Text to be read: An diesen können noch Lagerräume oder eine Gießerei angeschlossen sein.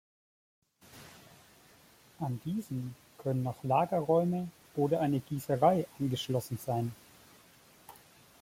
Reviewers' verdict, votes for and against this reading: accepted, 2, 0